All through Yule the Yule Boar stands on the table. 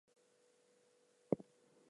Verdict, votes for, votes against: rejected, 0, 4